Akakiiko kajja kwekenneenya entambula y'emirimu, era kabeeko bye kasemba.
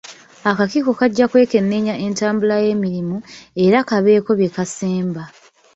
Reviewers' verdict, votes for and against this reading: accepted, 2, 0